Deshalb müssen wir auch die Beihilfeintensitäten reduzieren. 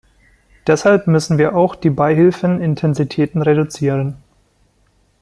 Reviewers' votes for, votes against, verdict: 1, 2, rejected